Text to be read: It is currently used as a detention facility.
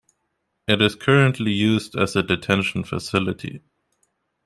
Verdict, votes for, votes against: accepted, 2, 0